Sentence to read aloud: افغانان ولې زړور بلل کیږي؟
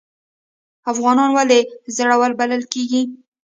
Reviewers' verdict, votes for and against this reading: accepted, 2, 0